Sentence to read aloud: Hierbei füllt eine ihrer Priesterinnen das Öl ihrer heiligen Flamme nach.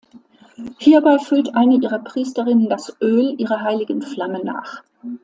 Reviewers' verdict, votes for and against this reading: accepted, 2, 0